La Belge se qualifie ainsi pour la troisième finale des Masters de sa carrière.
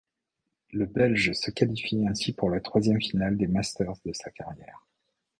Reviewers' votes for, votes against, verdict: 0, 2, rejected